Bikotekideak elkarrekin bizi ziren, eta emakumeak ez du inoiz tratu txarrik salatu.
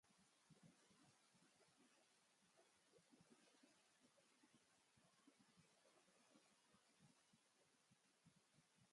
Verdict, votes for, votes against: rejected, 0, 3